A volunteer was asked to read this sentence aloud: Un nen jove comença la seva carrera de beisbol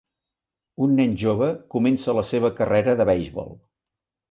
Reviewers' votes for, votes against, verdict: 0, 2, rejected